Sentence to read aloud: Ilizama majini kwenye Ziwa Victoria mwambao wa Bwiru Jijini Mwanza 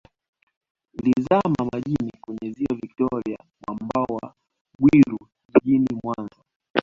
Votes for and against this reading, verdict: 0, 2, rejected